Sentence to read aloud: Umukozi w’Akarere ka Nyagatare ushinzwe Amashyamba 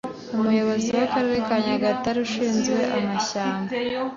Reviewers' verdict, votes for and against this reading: accepted, 2, 0